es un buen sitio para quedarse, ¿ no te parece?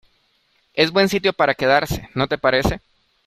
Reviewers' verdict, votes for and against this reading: rejected, 0, 2